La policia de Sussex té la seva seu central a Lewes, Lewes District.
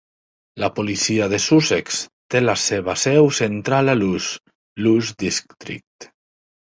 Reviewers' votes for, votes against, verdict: 2, 0, accepted